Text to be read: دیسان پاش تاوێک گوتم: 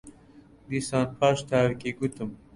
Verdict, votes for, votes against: rejected, 1, 2